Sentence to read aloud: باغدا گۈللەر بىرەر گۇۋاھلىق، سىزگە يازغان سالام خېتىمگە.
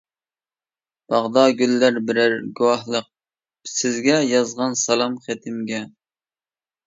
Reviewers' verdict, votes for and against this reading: accepted, 2, 0